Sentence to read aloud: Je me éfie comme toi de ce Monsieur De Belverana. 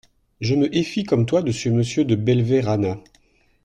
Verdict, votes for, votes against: accepted, 2, 0